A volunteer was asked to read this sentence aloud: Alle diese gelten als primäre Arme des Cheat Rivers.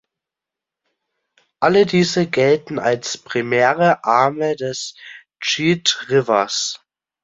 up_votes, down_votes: 2, 0